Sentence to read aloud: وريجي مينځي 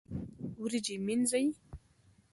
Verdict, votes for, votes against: rejected, 0, 2